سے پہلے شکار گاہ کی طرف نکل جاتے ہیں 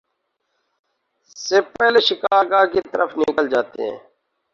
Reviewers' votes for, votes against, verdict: 2, 2, rejected